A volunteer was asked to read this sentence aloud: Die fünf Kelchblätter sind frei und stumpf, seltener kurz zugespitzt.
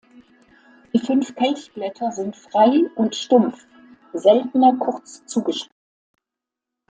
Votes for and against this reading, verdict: 0, 2, rejected